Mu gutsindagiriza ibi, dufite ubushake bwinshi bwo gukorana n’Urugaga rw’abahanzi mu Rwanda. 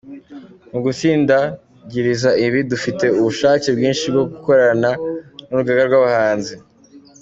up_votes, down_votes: 0, 2